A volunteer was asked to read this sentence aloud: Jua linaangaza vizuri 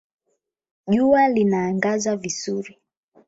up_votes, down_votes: 12, 0